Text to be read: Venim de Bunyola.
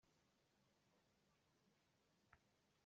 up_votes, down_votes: 0, 2